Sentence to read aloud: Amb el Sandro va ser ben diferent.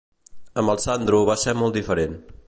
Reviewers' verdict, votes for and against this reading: rejected, 0, 2